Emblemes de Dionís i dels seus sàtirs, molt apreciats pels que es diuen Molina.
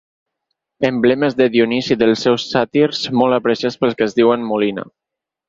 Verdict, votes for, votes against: accepted, 4, 0